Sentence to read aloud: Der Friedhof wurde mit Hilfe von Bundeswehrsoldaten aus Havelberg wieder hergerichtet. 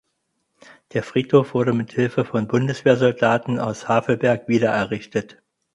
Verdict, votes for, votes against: rejected, 0, 4